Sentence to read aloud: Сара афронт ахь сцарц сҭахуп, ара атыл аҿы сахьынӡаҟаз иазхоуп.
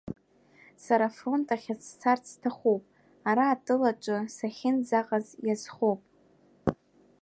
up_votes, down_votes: 2, 1